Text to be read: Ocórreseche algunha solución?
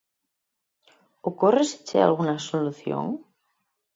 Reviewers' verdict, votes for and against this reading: accepted, 4, 0